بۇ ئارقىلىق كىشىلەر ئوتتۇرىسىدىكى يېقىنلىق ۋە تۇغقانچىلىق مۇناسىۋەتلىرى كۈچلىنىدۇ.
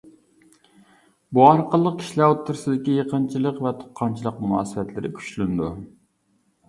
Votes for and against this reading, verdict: 1, 2, rejected